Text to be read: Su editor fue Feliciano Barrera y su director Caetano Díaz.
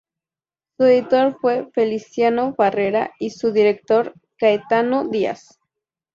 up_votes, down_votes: 0, 2